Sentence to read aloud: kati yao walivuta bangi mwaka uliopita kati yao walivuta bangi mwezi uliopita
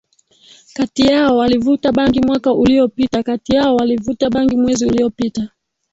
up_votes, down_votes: 2, 0